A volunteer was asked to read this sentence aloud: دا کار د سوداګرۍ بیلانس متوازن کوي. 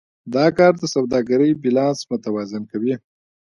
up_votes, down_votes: 2, 0